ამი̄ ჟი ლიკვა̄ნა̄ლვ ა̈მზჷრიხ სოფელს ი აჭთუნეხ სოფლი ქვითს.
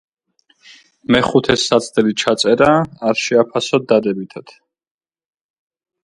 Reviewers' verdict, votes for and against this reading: rejected, 1, 3